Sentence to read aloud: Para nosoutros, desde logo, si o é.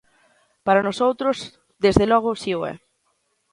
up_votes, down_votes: 2, 0